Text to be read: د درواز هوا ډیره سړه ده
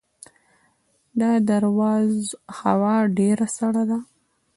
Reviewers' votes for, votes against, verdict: 1, 2, rejected